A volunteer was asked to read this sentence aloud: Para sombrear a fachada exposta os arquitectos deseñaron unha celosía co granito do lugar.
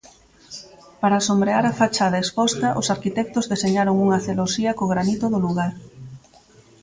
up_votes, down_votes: 3, 0